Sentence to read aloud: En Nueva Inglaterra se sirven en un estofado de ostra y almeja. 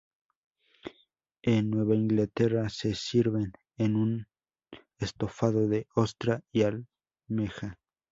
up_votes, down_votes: 4, 0